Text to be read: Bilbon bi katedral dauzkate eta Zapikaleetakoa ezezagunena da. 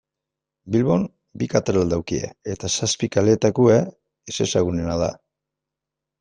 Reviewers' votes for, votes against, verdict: 1, 2, rejected